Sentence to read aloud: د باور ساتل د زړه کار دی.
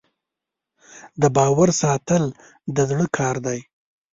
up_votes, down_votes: 1, 2